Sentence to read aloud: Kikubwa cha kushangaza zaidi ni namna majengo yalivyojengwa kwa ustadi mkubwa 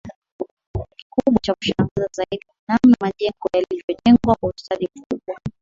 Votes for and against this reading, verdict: 0, 2, rejected